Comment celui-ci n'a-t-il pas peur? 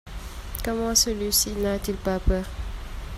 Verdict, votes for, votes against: accepted, 2, 0